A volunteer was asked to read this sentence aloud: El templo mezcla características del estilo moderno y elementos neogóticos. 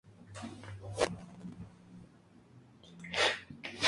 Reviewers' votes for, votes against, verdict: 0, 2, rejected